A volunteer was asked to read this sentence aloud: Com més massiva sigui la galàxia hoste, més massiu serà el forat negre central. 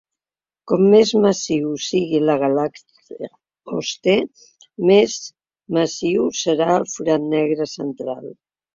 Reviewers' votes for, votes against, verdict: 0, 3, rejected